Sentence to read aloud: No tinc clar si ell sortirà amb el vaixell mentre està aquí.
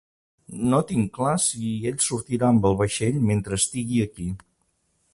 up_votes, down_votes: 1, 3